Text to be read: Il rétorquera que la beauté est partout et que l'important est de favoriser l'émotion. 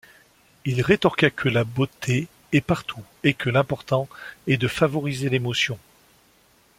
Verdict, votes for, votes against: rejected, 0, 2